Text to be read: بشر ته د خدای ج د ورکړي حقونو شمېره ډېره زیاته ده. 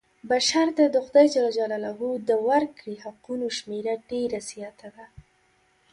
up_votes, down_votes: 1, 2